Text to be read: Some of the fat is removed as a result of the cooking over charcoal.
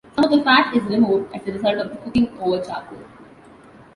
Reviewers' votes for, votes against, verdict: 2, 1, accepted